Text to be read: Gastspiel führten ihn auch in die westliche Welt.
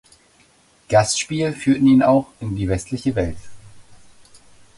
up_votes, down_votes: 2, 0